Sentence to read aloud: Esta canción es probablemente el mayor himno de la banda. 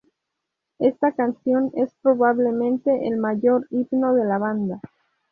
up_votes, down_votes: 0, 2